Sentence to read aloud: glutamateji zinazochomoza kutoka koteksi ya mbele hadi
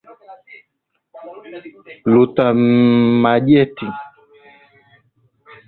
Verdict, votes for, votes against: rejected, 0, 2